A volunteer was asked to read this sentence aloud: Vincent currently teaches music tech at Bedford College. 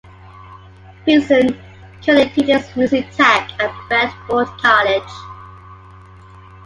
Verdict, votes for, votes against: rejected, 1, 2